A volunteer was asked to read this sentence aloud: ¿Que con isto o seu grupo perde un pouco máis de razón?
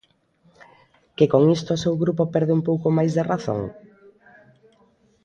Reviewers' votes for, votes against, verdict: 0, 2, rejected